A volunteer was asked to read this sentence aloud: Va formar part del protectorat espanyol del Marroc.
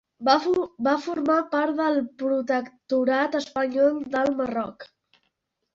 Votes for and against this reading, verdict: 1, 2, rejected